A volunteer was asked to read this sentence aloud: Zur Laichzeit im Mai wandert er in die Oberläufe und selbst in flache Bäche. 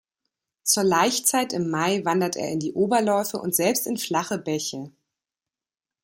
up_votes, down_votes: 2, 0